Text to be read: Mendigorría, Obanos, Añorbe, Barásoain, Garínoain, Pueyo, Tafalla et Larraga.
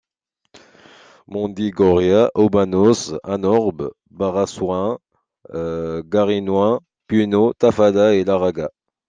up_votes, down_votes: 2, 0